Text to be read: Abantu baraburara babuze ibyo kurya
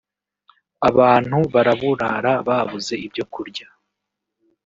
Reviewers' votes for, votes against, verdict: 1, 2, rejected